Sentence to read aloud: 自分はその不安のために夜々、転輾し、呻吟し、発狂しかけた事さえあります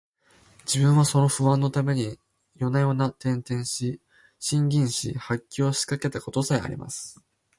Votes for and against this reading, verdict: 2, 0, accepted